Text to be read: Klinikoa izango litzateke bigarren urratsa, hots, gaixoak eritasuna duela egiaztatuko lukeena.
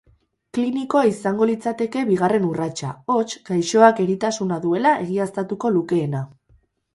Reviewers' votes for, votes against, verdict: 2, 2, rejected